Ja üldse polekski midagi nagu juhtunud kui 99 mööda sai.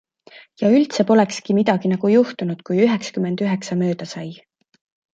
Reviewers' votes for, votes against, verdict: 0, 2, rejected